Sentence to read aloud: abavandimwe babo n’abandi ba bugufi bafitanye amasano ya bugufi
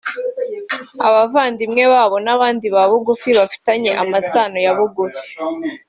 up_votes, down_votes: 1, 2